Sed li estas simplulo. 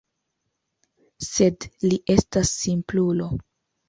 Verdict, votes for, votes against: accepted, 2, 0